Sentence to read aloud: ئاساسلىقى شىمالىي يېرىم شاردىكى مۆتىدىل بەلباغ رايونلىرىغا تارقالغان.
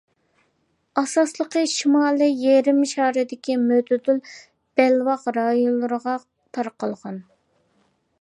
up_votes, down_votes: 1, 2